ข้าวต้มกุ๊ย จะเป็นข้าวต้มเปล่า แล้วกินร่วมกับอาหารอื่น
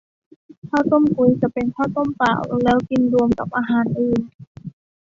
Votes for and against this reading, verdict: 1, 2, rejected